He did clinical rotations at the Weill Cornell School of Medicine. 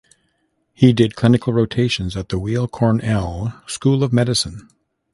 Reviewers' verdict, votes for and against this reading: accepted, 2, 1